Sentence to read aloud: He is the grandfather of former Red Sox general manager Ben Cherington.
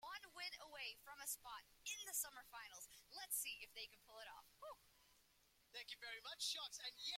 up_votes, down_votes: 0, 2